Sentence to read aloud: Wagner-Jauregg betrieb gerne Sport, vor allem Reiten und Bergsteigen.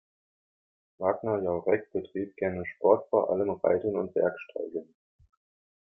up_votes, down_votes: 2, 0